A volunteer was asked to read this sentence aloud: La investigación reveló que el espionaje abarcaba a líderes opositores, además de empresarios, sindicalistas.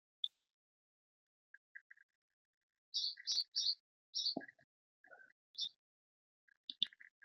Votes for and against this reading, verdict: 0, 2, rejected